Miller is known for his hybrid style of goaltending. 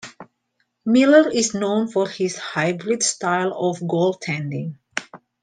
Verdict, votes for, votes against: accepted, 2, 0